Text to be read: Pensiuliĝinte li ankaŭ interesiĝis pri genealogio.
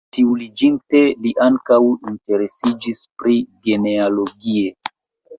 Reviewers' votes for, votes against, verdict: 1, 2, rejected